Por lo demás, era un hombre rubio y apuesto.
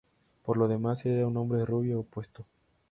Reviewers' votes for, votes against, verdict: 2, 0, accepted